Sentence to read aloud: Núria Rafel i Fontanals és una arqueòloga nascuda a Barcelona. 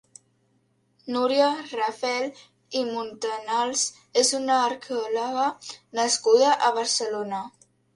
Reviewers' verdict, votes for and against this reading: rejected, 1, 3